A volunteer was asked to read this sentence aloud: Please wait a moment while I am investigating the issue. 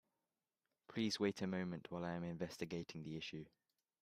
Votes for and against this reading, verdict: 1, 2, rejected